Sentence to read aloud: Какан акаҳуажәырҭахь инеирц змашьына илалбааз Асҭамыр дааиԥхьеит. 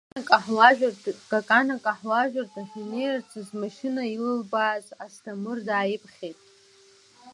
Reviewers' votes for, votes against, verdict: 0, 2, rejected